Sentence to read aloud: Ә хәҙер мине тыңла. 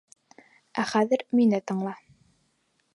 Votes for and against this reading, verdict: 4, 0, accepted